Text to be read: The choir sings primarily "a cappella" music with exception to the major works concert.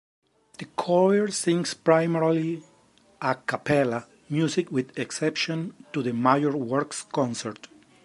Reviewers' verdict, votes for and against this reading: rejected, 1, 2